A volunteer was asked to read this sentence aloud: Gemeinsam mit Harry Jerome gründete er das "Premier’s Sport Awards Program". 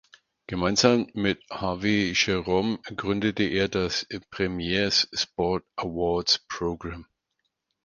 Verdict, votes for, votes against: rejected, 0, 4